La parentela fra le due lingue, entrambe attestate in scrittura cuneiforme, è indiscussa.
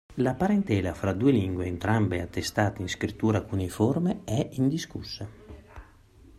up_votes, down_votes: 0, 2